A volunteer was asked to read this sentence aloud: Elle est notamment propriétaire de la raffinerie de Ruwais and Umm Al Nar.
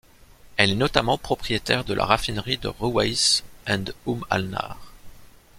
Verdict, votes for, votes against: accepted, 2, 0